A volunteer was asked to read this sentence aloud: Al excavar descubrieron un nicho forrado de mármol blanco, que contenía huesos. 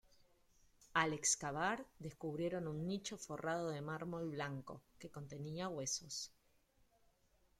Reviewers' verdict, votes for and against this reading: accepted, 2, 0